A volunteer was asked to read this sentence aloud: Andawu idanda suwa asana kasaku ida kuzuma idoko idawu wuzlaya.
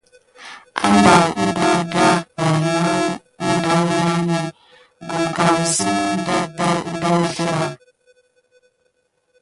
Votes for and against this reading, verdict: 0, 2, rejected